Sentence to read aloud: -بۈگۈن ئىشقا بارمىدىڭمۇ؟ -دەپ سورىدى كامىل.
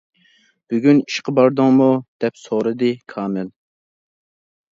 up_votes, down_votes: 1, 2